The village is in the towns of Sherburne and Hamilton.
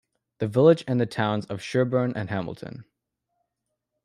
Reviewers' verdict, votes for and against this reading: rejected, 1, 2